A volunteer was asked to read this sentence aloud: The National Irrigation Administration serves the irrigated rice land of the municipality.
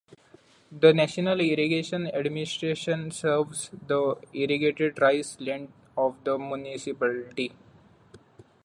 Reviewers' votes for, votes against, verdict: 2, 0, accepted